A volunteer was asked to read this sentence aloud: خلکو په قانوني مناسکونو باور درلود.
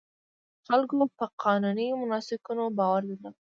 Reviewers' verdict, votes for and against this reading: accepted, 2, 0